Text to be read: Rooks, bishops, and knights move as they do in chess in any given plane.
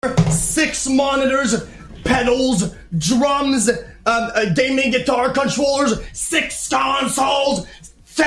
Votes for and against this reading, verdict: 0, 2, rejected